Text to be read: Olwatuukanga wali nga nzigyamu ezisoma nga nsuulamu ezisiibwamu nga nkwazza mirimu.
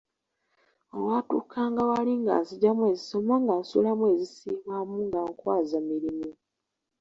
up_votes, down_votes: 1, 2